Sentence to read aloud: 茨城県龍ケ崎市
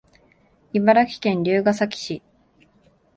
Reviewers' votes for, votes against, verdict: 2, 0, accepted